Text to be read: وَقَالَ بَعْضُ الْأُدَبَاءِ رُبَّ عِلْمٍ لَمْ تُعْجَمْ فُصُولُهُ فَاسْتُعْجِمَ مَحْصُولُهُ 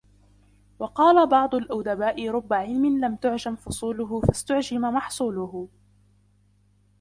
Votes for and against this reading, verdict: 3, 0, accepted